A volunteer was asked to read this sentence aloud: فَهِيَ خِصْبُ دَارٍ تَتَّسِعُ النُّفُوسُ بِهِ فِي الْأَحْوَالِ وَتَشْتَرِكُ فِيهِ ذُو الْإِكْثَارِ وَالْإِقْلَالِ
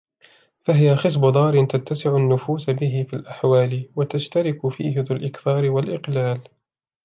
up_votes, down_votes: 2, 0